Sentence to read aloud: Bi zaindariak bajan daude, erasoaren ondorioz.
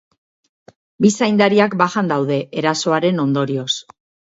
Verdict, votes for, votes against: accepted, 4, 0